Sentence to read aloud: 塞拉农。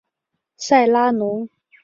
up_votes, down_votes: 2, 0